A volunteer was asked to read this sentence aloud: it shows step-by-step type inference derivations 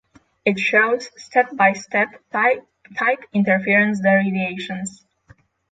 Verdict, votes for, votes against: rejected, 0, 6